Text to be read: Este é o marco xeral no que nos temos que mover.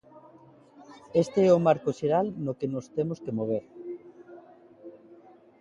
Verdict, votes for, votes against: accepted, 2, 0